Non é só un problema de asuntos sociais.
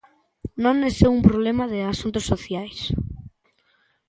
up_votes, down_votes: 2, 1